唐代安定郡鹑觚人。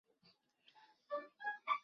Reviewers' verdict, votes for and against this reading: rejected, 1, 4